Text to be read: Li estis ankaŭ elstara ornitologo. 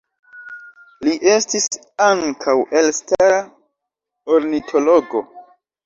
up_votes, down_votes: 1, 2